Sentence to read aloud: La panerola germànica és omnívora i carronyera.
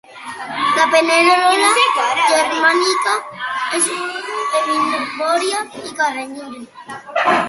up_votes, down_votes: 1, 2